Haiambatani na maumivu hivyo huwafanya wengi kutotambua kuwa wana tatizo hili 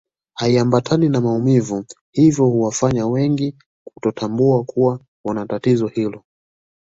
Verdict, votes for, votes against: accepted, 2, 0